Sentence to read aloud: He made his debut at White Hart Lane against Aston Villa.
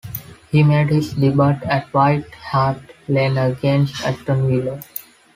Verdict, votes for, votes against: rejected, 1, 2